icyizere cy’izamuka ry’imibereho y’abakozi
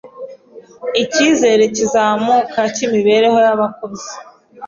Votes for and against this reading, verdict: 2, 0, accepted